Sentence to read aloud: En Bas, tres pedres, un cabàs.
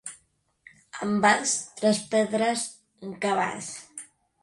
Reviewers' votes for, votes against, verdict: 2, 0, accepted